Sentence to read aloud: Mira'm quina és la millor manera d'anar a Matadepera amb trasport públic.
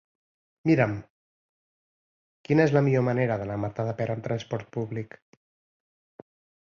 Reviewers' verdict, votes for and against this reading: rejected, 2, 4